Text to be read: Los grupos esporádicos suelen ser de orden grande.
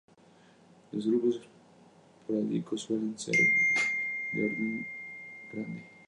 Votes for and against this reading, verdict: 0, 2, rejected